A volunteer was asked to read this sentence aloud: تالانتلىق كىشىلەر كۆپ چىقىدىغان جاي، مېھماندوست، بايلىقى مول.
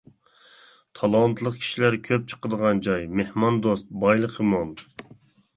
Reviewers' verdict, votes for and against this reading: accepted, 3, 0